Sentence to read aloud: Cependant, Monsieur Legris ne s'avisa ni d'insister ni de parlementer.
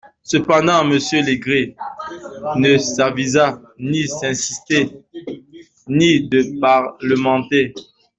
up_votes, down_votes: 1, 2